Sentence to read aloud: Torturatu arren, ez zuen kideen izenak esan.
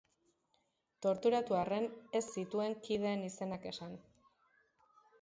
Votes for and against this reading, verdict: 0, 2, rejected